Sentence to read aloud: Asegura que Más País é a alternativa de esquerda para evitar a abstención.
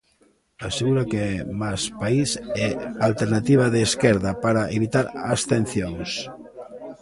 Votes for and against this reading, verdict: 0, 2, rejected